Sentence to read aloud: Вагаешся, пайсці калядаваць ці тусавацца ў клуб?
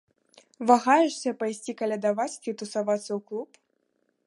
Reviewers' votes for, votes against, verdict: 1, 2, rejected